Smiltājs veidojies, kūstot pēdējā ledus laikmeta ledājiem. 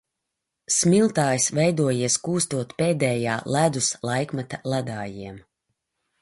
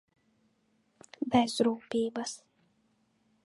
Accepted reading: first